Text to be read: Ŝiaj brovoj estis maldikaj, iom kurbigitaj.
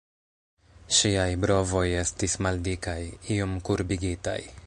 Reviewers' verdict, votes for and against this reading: rejected, 0, 2